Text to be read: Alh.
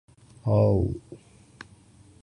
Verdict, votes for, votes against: accepted, 2, 1